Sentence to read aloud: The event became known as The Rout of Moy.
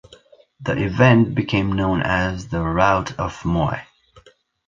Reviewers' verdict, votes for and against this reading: accepted, 2, 0